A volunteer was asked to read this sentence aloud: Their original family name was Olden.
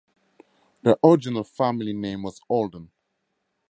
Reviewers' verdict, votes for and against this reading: rejected, 0, 2